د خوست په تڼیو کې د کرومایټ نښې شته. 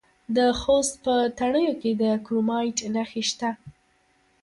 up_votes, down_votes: 2, 1